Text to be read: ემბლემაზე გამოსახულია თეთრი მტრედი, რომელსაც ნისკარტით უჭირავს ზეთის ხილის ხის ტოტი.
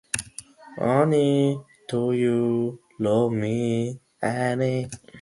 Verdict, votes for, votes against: rejected, 0, 2